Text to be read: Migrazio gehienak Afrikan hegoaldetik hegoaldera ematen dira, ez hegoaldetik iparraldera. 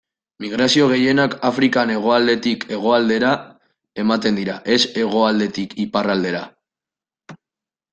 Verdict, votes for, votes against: accepted, 2, 0